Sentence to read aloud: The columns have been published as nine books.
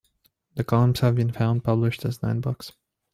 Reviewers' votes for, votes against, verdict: 1, 2, rejected